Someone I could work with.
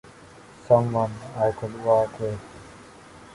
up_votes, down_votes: 0, 2